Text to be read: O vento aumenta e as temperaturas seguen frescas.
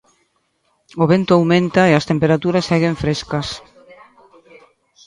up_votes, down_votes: 1, 2